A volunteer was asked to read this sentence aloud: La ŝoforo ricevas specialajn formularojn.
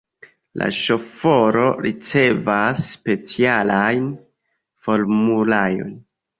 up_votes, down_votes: 0, 2